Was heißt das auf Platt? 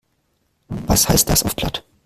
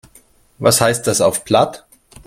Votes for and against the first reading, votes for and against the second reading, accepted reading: 0, 2, 2, 0, second